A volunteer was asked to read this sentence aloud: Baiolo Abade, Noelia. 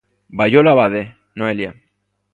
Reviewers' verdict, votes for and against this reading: accepted, 2, 0